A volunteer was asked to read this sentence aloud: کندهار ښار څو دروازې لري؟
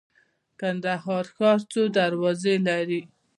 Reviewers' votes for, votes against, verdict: 0, 2, rejected